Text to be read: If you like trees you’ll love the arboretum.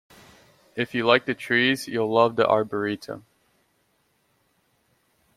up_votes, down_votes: 1, 2